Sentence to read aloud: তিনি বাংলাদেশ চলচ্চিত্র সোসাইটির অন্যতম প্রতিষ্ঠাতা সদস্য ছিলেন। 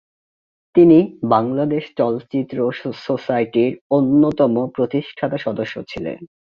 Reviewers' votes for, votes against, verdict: 2, 3, rejected